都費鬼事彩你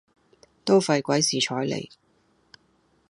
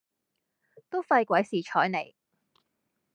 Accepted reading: second